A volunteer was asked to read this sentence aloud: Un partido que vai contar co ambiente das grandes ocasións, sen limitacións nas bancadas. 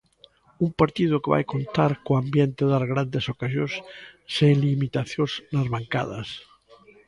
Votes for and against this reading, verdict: 2, 0, accepted